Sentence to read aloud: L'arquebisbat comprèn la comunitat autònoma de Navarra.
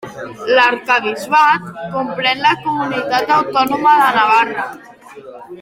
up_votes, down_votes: 3, 0